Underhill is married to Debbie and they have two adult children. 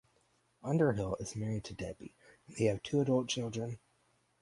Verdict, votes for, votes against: rejected, 0, 4